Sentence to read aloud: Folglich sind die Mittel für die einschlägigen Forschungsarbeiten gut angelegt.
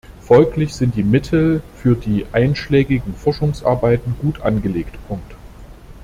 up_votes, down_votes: 0, 2